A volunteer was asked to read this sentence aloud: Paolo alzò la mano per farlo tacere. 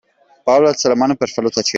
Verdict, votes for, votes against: rejected, 0, 2